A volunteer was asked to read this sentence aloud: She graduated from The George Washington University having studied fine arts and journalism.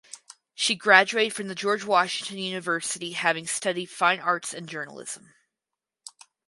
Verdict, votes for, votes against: rejected, 0, 2